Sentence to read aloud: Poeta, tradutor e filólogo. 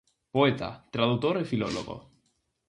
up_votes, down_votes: 4, 0